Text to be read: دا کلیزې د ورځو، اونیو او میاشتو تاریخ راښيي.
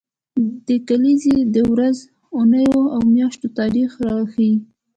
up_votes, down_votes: 2, 1